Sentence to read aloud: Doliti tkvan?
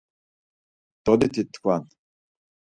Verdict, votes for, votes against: rejected, 2, 4